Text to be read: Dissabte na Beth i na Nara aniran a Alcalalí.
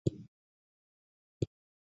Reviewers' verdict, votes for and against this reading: rejected, 0, 2